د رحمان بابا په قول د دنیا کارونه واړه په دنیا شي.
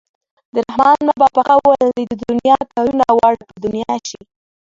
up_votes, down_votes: 2, 1